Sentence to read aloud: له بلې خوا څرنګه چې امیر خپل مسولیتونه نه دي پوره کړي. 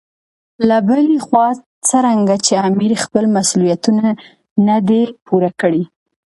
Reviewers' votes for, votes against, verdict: 2, 0, accepted